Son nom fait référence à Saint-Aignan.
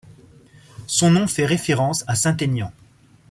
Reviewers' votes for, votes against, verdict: 2, 0, accepted